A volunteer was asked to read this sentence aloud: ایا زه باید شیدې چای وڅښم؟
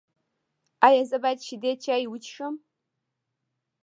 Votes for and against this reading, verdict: 1, 2, rejected